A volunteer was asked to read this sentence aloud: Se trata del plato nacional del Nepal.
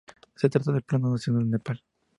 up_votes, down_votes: 2, 0